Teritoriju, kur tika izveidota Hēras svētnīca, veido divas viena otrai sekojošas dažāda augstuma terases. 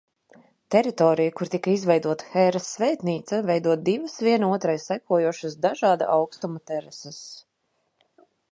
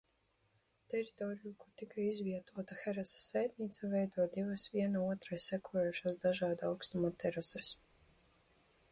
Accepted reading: first